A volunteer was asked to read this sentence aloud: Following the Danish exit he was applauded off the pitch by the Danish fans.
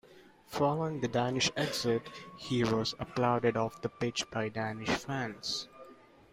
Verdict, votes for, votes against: rejected, 0, 2